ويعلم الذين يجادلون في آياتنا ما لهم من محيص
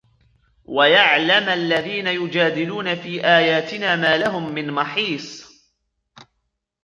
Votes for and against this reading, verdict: 1, 2, rejected